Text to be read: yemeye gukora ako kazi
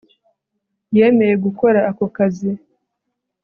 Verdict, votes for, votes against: accepted, 2, 0